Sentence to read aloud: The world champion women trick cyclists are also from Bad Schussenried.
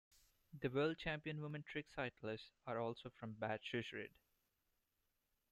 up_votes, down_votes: 2, 1